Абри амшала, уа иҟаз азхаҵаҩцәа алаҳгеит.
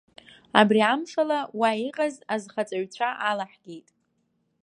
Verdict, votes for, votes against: accepted, 2, 0